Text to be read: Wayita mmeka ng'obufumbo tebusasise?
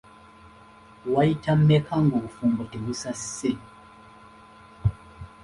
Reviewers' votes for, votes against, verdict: 2, 1, accepted